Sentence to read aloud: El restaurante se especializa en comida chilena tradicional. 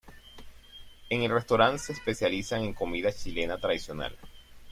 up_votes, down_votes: 2, 0